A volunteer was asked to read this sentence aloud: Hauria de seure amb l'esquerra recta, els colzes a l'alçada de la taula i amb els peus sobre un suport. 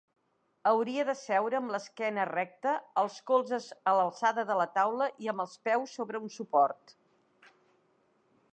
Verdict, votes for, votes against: rejected, 0, 2